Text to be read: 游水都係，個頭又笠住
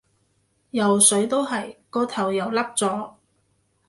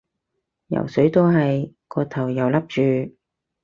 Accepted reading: second